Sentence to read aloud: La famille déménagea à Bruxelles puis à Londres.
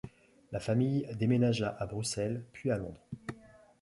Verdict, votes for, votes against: accepted, 2, 0